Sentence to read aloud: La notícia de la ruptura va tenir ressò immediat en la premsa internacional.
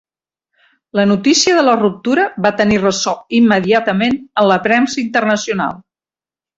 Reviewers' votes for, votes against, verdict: 0, 2, rejected